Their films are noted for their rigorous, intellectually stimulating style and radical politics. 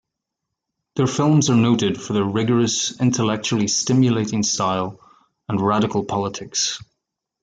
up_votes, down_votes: 2, 0